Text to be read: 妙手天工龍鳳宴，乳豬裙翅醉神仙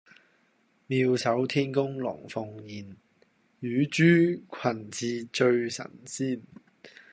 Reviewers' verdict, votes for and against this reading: accepted, 2, 0